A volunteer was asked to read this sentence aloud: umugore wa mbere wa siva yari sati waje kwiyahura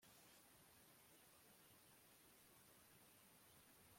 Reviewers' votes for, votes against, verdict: 1, 2, rejected